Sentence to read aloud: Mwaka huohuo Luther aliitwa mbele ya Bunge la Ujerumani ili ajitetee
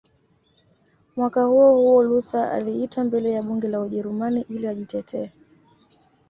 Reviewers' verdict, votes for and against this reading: accepted, 2, 0